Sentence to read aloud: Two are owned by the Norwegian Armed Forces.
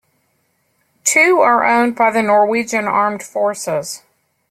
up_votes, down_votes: 2, 0